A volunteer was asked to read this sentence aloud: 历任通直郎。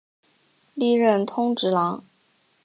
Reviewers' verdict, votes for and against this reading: accepted, 2, 0